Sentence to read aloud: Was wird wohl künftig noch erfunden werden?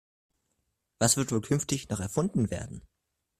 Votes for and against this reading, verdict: 2, 0, accepted